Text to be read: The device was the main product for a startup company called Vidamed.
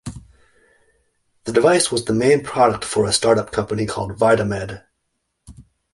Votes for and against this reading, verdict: 2, 0, accepted